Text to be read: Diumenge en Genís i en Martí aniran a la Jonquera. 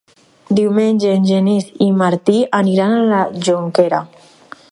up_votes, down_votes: 0, 4